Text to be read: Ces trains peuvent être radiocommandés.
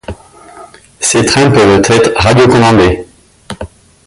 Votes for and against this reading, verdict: 0, 2, rejected